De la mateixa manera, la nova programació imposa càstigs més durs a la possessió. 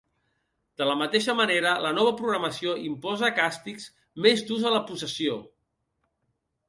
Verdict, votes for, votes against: accepted, 2, 0